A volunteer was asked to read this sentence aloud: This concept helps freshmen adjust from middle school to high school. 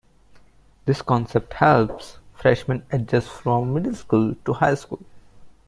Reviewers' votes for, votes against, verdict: 2, 0, accepted